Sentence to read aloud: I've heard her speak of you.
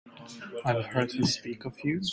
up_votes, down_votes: 2, 1